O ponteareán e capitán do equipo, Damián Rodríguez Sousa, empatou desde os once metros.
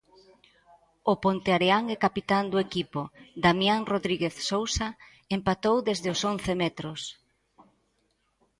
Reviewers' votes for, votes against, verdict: 1, 2, rejected